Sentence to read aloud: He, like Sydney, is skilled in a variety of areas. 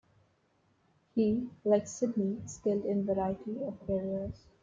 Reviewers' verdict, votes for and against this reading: rejected, 1, 2